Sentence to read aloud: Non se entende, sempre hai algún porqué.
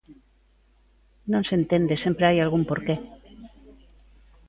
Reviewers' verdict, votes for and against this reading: rejected, 1, 2